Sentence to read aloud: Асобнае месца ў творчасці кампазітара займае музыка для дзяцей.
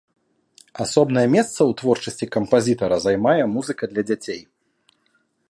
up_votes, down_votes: 3, 0